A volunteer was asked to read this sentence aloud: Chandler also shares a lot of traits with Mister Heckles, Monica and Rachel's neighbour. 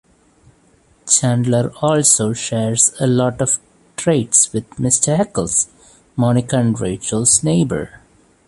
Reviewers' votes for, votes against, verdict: 1, 2, rejected